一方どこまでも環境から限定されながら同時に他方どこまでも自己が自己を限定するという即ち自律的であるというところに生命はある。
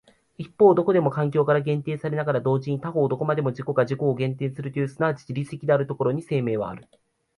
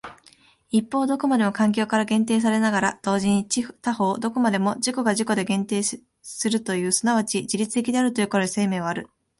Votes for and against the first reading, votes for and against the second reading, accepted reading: 2, 1, 1, 2, first